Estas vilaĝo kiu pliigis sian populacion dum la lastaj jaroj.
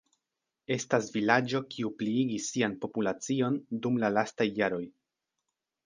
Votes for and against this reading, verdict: 2, 0, accepted